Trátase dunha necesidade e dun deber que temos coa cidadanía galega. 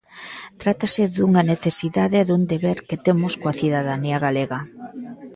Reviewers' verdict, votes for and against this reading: accepted, 2, 0